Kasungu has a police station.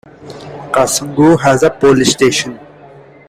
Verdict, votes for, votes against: accepted, 2, 1